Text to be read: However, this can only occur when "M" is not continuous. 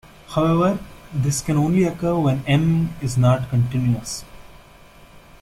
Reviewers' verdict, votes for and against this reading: accepted, 2, 0